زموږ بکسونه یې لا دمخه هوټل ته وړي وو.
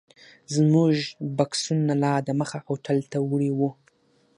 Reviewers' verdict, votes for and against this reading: accepted, 6, 0